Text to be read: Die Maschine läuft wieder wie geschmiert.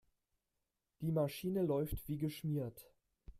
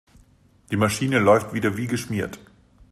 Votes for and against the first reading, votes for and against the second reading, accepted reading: 0, 2, 2, 0, second